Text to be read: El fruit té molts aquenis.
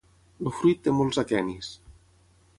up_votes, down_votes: 6, 3